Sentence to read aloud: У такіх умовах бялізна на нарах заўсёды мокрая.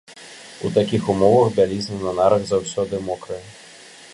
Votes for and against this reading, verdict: 2, 0, accepted